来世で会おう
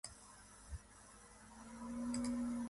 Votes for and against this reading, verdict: 0, 2, rejected